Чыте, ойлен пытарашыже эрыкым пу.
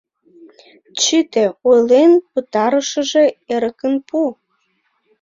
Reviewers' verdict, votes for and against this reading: rejected, 0, 2